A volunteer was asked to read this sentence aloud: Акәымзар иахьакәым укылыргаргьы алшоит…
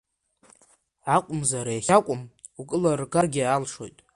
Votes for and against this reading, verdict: 2, 0, accepted